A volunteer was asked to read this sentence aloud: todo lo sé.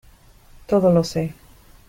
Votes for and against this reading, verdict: 2, 0, accepted